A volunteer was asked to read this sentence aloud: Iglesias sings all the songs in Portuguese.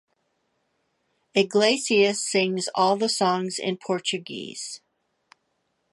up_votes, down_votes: 2, 0